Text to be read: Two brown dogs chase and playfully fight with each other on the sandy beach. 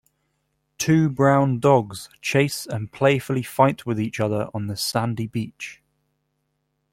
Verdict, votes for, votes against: accepted, 4, 0